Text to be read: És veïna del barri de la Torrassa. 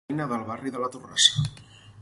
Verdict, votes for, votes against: rejected, 0, 4